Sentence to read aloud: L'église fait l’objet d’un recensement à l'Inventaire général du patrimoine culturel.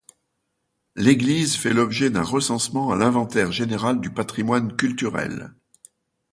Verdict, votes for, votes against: accepted, 2, 0